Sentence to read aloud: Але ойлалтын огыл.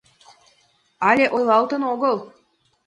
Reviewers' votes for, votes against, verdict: 2, 1, accepted